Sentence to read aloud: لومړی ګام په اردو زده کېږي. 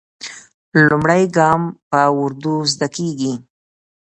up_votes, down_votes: 0, 2